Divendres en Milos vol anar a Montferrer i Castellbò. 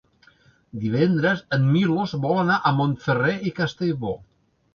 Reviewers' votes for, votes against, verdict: 3, 1, accepted